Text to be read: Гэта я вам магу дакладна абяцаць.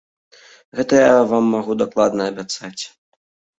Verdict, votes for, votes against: rejected, 1, 2